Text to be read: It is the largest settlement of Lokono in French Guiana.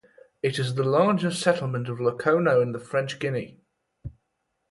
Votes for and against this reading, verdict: 2, 2, rejected